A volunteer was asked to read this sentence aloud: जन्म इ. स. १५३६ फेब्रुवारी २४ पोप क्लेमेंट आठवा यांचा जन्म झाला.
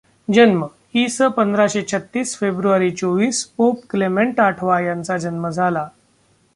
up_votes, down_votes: 0, 2